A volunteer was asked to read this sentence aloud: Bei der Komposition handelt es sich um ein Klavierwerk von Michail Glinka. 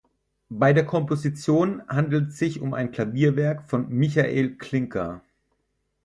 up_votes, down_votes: 0, 4